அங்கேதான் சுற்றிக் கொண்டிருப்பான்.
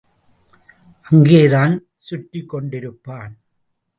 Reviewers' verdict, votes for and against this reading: accepted, 2, 0